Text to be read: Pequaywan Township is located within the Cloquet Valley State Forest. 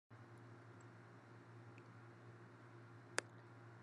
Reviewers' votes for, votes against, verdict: 0, 2, rejected